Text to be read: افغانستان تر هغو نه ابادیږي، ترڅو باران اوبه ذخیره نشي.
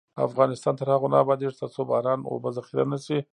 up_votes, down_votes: 0, 2